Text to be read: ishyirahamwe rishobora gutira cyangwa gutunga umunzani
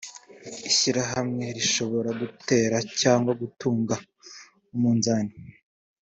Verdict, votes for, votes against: accepted, 3, 1